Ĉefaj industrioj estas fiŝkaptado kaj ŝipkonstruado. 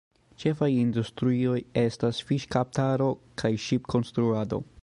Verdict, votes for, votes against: rejected, 0, 2